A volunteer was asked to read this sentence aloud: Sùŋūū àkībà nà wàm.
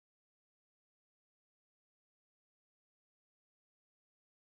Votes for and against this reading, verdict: 0, 2, rejected